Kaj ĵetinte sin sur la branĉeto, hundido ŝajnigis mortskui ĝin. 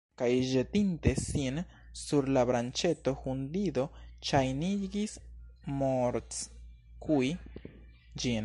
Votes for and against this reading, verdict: 0, 2, rejected